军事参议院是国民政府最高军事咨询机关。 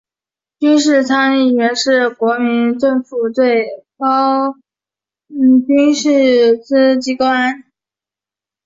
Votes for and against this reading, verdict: 1, 2, rejected